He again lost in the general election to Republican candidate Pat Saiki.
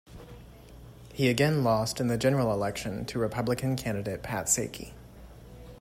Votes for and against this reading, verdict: 2, 0, accepted